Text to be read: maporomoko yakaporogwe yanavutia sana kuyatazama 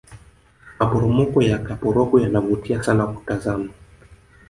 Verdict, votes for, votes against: accepted, 2, 0